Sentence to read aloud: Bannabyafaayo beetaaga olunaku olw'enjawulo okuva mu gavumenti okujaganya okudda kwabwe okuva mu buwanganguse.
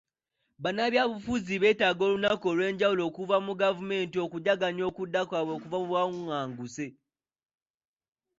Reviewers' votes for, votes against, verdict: 0, 2, rejected